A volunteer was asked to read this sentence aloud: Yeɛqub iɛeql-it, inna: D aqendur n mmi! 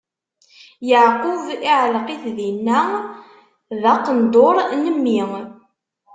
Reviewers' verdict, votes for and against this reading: rejected, 1, 2